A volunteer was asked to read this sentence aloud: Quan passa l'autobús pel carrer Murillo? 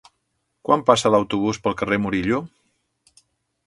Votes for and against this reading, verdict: 2, 0, accepted